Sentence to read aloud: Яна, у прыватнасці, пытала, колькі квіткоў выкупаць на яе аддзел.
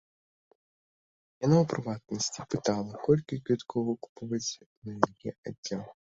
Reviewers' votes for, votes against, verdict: 0, 2, rejected